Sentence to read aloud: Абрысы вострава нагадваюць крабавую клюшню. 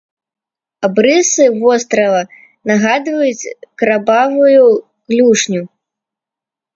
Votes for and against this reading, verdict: 0, 2, rejected